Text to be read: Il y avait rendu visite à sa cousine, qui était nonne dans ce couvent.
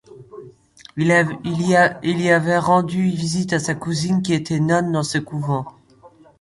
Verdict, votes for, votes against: rejected, 0, 2